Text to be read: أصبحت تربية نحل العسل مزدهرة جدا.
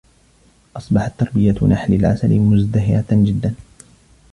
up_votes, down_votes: 2, 0